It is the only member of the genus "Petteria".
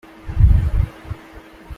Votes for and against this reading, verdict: 0, 2, rejected